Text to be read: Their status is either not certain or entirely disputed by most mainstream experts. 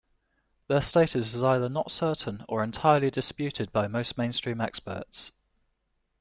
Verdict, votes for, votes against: accepted, 2, 0